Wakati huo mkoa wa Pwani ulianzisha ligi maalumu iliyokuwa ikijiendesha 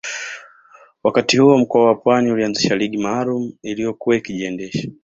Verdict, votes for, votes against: accepted, 2, 0